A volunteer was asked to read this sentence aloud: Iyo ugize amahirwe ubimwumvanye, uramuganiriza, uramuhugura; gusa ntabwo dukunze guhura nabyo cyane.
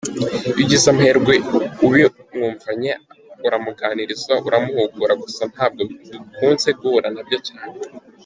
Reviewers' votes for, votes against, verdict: 1, 2, rejected